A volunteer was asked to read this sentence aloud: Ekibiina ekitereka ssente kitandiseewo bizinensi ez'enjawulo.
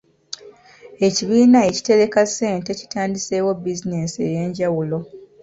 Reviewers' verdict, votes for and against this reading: rejected, 1, 2